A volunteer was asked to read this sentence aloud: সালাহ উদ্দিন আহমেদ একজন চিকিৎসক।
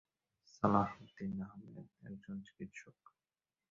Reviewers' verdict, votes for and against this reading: accepted, 2, 1